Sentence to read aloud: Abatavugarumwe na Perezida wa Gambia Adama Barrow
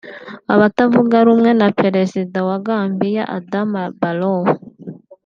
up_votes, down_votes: 2, 0